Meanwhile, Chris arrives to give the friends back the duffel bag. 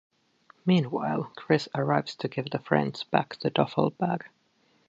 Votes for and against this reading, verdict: 2, 0, accepted